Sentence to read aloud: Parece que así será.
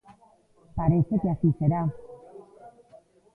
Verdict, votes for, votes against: accepted, 2, 0